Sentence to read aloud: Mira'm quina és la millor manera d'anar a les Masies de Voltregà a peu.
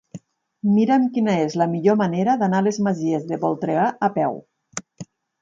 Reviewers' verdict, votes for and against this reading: accepted, 6, 0